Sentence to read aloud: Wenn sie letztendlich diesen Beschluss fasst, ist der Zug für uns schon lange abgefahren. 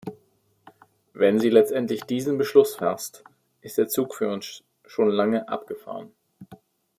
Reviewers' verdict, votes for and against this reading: rejected, 1, 2